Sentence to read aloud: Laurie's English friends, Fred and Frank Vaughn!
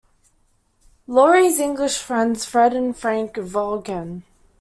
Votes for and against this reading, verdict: 0, 2, rejected